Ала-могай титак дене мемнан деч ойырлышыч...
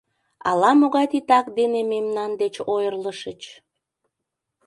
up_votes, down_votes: 2, 0